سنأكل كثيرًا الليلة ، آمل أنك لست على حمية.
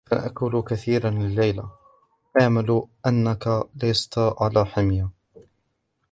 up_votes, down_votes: 1, 2